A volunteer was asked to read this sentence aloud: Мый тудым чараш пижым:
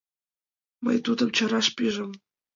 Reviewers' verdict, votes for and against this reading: accepted, 2, 0